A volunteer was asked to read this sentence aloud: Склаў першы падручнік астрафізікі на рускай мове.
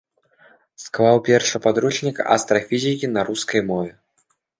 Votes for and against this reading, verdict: 1, 2, rejected